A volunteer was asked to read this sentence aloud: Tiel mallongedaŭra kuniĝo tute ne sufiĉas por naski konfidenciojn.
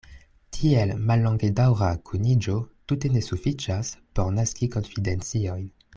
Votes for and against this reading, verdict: 2, 0, accepted